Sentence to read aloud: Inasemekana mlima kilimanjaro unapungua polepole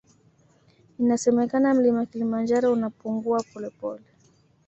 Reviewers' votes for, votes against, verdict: 2, 0, accepted